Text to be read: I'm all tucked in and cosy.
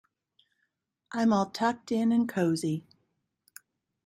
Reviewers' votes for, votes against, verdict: 2, 0, accepted